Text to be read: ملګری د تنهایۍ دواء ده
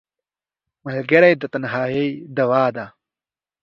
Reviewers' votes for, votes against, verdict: 2, 0, accepted